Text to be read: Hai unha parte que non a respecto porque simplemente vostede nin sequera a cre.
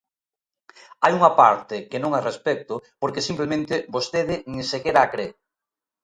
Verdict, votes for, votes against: accepted, 2, 0